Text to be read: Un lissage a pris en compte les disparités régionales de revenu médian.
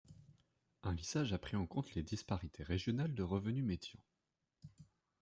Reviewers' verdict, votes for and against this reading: accepted, 2, 0